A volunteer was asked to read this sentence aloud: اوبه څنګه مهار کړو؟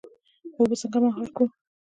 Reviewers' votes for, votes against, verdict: 2, 1, accepted